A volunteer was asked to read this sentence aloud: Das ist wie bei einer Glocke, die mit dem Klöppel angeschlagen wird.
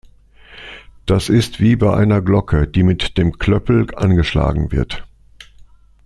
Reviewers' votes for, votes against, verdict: 2, 0, accepted